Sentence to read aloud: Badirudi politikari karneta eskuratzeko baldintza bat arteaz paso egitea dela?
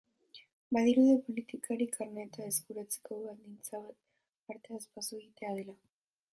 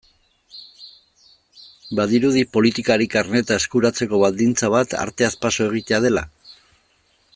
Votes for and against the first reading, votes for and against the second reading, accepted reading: 0, 2, 2, 0, second